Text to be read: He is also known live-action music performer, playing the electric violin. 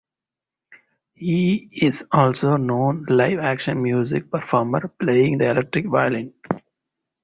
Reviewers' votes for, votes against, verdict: 4, 2, accepted